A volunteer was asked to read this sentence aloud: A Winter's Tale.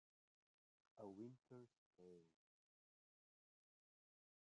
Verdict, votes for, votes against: rejected, 0, 2